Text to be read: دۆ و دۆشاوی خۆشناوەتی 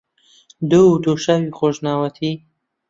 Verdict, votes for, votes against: accepted, 2, 0